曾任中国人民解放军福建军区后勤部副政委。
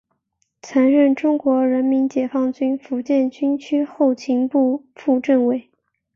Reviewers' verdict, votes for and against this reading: accepted, 3, 0